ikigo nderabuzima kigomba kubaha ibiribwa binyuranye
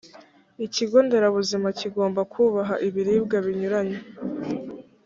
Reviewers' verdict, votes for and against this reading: accepted, 2, 0